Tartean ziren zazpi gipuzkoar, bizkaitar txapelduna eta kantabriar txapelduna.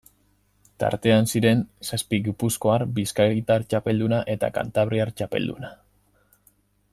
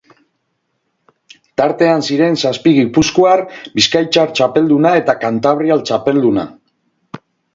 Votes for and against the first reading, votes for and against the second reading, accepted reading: 2, 0, 2, 2, first